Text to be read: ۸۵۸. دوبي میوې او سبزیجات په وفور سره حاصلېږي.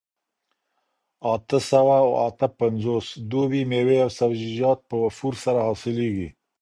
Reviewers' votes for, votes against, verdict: 0, 2, rejected